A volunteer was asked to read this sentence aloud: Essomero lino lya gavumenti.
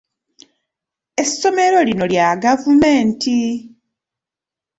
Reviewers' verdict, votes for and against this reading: accepted, 2, 0